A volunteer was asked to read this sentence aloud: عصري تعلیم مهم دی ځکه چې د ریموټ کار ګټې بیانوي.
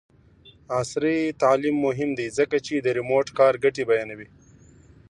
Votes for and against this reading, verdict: 2, 1, accepted